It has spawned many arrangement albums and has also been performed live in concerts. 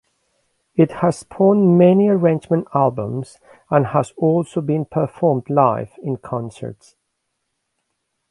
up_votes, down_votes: 1, 2